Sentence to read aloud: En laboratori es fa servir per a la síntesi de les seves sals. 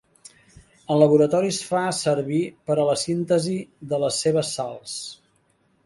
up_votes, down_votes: 1, 2